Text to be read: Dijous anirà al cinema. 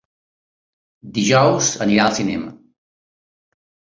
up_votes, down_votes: 3, 0